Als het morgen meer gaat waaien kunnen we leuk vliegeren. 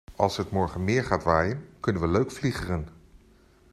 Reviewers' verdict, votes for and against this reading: accepted, 2, 0